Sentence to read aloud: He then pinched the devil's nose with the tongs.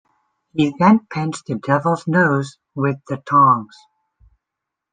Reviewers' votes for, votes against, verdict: 0, 2, rejected